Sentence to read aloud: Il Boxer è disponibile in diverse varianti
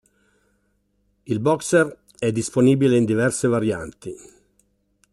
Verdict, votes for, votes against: accepted, 2, 0